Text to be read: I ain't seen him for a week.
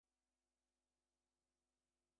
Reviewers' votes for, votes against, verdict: 0, 2, rejected